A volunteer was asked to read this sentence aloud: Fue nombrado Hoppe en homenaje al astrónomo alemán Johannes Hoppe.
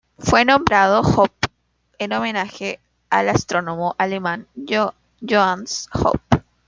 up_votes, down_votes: 0, 2